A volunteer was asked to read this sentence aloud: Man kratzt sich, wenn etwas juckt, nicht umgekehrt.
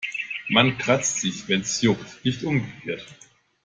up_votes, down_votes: 0, 2